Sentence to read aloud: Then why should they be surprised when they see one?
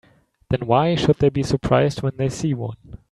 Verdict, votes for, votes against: accepted, 3, 0